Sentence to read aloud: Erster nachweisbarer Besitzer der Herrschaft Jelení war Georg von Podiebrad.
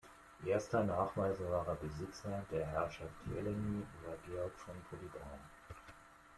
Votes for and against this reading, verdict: 1, 2, rejected